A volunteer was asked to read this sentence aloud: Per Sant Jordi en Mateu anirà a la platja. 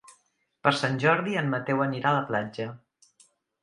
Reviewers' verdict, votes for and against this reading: accepted, 2, 0